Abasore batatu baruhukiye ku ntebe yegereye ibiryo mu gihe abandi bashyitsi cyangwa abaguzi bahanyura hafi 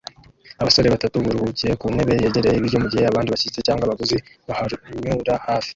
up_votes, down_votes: 0, 2